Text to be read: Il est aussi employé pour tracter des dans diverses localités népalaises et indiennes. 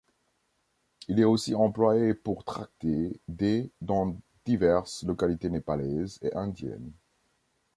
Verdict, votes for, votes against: rejected, 1, 2